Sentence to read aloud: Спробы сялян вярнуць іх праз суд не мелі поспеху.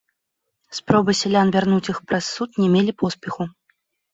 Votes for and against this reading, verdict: 0, 2, rejected